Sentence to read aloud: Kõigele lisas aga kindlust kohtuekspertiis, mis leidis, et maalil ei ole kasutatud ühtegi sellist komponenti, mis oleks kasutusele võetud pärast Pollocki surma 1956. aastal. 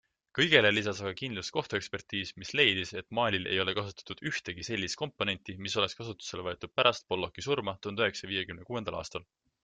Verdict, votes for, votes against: rejected, 0, 2